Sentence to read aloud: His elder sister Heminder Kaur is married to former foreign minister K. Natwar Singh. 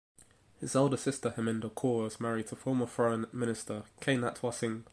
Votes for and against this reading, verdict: 2, 1, accepted